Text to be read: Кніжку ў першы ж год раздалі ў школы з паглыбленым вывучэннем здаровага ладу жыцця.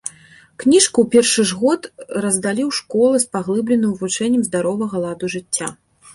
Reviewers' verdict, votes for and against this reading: accepted, 2, 0